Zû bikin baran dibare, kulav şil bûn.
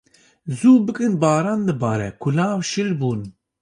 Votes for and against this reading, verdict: 2, 0, accepted